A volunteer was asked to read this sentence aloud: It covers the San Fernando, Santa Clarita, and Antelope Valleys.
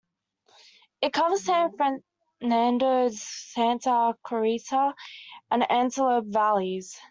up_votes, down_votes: 0, 2